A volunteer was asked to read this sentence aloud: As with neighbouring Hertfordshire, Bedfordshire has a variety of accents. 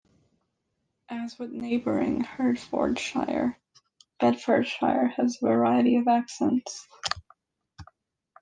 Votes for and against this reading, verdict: 2, 0, accepted